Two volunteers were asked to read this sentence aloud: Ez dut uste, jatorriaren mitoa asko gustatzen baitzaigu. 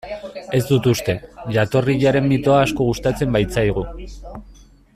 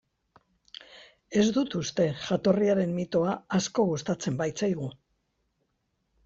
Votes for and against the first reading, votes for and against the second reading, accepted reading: 0, 2, 2, 0, second